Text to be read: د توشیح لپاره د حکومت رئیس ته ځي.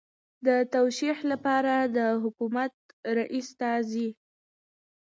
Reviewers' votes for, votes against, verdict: 2, 0, accepted